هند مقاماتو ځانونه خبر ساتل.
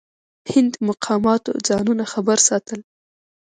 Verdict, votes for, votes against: accepted, 2, 0